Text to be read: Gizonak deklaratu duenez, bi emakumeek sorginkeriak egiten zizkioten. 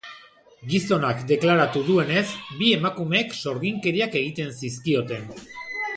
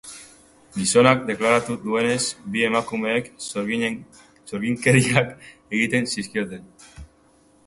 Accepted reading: first